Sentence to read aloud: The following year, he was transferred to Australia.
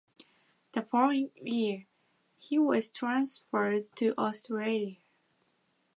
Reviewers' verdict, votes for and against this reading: accepted, 2, 0